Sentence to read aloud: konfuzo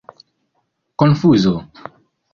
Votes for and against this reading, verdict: 0, 2, rejected